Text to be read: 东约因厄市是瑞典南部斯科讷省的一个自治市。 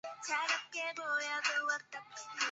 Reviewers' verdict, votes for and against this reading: rejected, 1, 3